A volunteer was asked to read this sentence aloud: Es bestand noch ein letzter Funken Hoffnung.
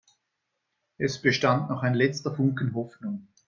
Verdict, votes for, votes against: accepted, 2, 0